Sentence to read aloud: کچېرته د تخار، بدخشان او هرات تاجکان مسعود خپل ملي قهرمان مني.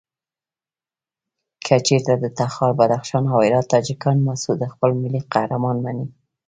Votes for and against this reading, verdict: 1, 2, rejected